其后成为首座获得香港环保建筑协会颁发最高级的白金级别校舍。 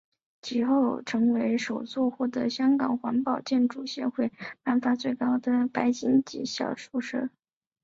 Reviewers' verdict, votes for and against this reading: accepted, 5, 4